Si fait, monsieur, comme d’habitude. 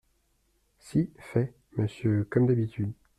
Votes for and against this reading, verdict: 1, 2, rejected